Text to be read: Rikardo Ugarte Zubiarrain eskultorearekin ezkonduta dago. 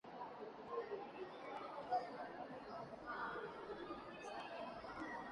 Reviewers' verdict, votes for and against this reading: rejected, 0, 2